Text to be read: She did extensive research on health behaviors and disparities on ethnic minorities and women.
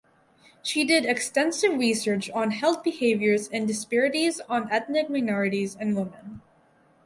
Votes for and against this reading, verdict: 4, 0, accepted